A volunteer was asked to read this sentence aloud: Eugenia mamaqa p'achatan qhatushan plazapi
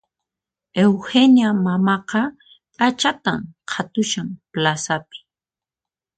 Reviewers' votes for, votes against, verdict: 4, 0, accepted